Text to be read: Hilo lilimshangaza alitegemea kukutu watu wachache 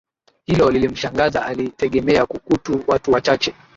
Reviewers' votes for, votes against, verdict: 2, 0, accepted